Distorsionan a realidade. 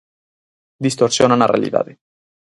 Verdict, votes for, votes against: accepted, 4, 0